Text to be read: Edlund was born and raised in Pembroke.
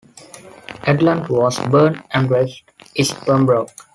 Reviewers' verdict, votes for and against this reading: rejected, 1, 2